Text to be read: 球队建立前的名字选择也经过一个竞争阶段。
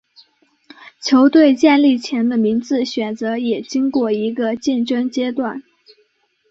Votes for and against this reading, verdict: 6, 0, accepted